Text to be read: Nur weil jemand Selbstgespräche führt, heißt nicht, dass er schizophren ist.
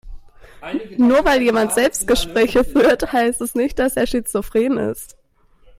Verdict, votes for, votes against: rejected, 1, 2